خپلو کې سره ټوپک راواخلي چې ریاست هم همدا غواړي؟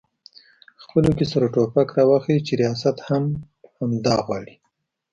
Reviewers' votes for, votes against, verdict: 2, 0, accepted